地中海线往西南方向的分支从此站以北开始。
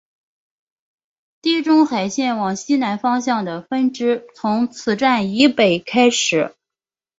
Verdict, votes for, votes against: accepted, 4, 0